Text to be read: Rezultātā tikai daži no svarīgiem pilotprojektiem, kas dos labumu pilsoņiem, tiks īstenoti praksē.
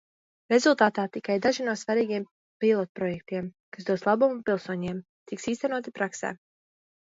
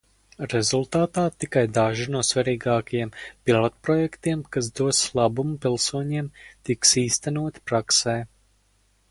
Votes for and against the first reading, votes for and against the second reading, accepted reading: 2, 1, 0, 4, first